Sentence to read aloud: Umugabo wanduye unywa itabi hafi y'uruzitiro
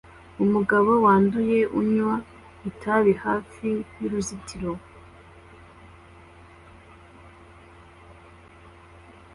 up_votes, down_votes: 2, 0